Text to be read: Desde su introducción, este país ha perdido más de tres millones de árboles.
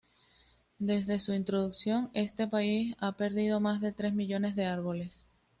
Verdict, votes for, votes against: accepted, 2, 0